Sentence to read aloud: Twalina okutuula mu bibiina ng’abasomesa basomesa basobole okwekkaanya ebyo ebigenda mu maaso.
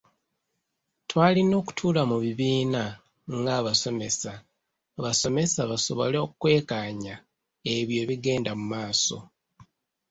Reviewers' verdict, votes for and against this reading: rejected, 0, 2